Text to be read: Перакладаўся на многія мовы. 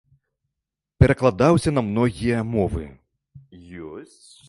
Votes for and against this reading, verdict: 0, 2, rejected